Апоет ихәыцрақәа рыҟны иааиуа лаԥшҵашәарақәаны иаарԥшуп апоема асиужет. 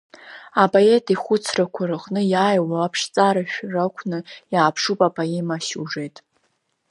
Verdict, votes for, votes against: rejected, 1, 2